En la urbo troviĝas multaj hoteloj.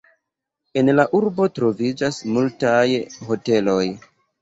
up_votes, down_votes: 2, 1